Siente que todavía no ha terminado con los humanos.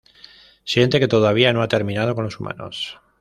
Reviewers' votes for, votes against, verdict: 0, 2, rejected